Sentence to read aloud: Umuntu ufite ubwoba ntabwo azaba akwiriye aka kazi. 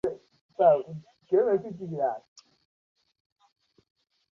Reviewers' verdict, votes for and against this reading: rejected, 0, 2